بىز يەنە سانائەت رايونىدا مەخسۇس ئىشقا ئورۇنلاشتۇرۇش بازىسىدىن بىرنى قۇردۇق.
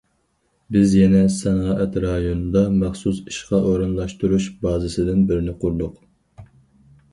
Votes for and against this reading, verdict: 4, 0, accepted